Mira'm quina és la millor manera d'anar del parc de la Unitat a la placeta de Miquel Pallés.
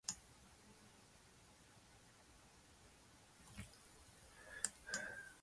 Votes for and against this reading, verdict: 1, 2, rejected